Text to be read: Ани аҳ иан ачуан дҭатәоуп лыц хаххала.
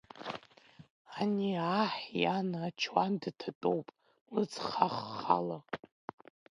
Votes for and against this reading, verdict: 1, 2, rejected